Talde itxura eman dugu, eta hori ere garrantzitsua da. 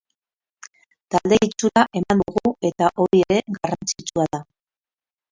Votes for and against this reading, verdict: 2, 2, rejected